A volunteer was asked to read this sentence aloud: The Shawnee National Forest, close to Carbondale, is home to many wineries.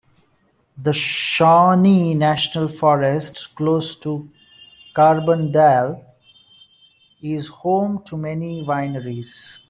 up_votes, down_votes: 2, 1